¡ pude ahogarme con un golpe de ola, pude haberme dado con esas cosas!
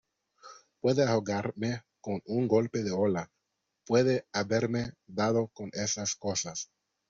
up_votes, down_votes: 0, 2